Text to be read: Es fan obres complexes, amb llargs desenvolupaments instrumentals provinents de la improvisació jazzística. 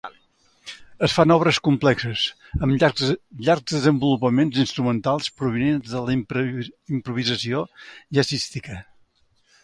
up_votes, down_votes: 0, 2